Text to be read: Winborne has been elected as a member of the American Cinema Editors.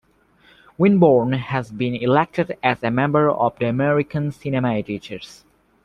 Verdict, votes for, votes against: accepted, 2, 0